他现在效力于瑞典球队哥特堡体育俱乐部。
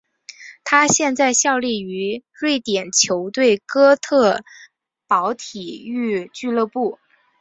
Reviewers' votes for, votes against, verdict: 2, 0, accepted